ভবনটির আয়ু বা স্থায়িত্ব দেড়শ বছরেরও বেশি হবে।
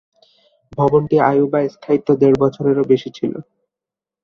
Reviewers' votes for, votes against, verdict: 0, 2, rejected